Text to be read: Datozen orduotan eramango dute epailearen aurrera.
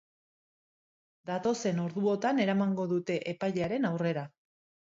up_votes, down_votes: 2, 0